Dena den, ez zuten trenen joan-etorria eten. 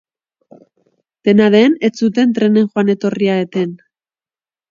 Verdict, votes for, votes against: accepted, 2, 0